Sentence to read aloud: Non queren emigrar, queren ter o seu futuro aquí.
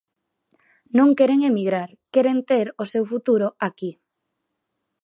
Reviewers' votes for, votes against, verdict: 4, 0, accepted